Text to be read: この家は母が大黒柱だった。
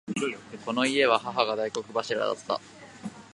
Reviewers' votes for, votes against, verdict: 2, 0, accepted